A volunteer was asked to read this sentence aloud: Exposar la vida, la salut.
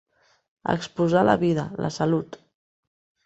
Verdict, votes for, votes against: accepted, 4, 1